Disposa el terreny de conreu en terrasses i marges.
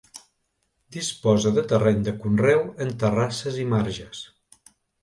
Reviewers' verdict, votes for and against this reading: rejected, 1, 2